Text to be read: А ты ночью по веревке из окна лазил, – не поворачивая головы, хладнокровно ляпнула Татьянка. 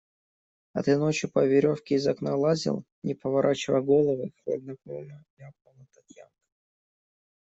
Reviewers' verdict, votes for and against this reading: rejected, 0, 2